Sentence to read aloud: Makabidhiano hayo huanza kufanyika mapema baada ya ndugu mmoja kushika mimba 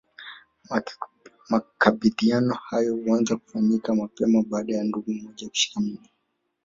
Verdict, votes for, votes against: rejected, 0, 2